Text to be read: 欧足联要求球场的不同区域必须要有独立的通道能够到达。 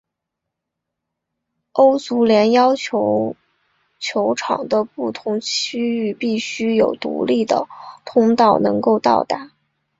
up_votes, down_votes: 0, 2